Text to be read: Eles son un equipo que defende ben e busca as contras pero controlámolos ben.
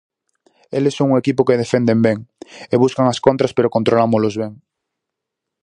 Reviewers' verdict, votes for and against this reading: rejected, 0, 4